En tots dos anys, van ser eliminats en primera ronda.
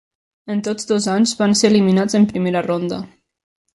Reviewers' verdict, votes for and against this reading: accepted, 3, 0